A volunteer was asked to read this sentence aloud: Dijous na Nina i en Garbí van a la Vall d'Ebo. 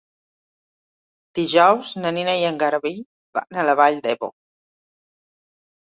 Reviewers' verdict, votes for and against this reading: accepted, 2, 0